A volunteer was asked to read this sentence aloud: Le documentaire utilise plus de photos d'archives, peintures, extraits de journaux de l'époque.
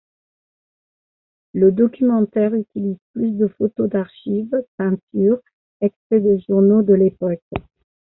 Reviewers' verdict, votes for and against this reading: accepted, 2, 1